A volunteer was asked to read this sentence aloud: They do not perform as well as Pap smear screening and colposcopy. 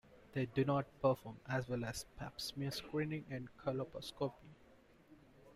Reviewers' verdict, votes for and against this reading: rejected, 1, 2